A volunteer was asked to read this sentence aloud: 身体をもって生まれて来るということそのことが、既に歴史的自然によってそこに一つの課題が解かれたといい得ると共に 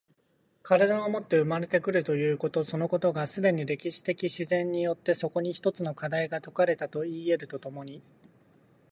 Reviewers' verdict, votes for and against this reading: accepted, 2, 0